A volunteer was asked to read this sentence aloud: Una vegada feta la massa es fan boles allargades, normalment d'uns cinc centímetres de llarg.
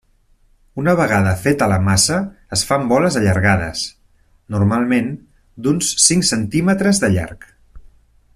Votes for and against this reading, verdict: 3, 0, accepted